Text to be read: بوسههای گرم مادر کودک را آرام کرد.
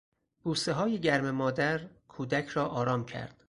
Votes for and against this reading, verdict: 4, 0, accepted